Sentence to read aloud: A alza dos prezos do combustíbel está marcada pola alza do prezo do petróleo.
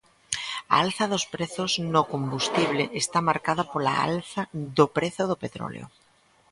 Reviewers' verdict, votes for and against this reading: rejected, 0, 2